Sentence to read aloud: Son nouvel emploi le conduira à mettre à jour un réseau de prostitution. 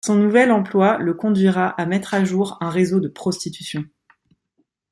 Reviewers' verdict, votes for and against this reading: accepted, 2, 0